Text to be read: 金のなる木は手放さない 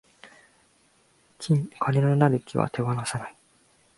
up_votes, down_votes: 2, 3